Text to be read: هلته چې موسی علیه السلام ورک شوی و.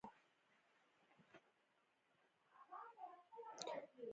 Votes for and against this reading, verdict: 1, 2, rejected